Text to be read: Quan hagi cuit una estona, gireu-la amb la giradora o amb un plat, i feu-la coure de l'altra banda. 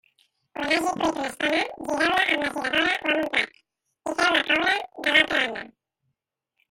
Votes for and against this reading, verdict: 0, 2, rejected